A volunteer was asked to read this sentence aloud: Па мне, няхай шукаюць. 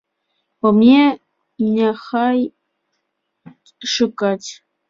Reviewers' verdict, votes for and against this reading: rejected, 0, 2